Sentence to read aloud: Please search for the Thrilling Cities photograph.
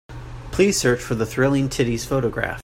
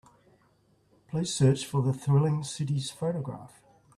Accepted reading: second